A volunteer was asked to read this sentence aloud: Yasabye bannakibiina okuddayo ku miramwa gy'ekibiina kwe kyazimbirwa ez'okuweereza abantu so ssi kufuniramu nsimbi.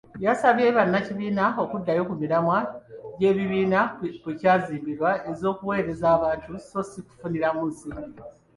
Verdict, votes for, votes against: rejected, 1, 2